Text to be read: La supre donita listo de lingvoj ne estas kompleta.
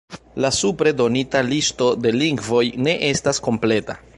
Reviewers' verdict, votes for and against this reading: accepted, 2, 0